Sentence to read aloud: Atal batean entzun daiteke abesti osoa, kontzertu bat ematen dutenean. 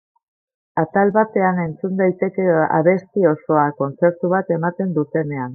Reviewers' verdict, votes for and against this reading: rejected, 1, 2